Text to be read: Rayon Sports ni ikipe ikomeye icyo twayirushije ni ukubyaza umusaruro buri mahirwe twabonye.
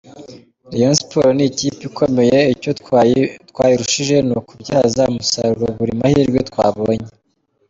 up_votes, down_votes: 0, 2